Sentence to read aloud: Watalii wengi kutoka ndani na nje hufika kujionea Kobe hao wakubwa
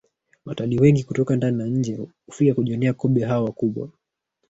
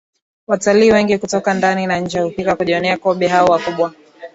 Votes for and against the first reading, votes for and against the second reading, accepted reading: 0, 2, 2, 0, second